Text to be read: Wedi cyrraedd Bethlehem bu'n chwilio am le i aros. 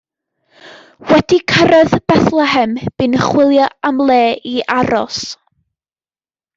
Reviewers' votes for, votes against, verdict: 2, 0, accepted